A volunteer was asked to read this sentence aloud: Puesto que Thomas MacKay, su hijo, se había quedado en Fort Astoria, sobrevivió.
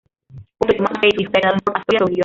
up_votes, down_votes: 0, 2